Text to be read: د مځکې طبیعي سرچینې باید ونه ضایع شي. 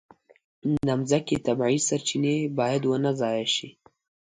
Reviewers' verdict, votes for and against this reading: accepted, 2, 0